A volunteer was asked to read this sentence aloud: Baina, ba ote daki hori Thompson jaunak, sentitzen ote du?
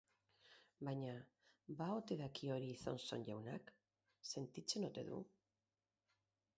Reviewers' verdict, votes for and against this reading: rejected, 4, 4